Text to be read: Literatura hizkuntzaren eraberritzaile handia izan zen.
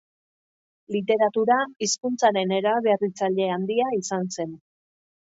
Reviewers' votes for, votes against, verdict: 2, 0, accepted